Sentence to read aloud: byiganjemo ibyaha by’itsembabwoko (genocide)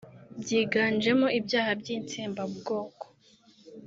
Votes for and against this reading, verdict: 0, 2, rejected